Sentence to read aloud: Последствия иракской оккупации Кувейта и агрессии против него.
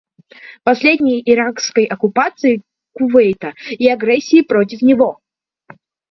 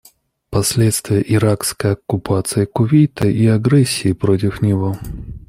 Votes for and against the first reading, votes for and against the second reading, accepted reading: 0, 2, 2, 0, second